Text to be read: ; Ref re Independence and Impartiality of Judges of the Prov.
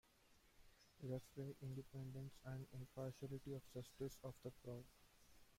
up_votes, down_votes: 0, 2